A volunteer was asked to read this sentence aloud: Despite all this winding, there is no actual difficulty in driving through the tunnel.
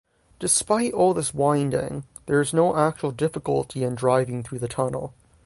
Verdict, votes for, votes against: accepted, 6, 0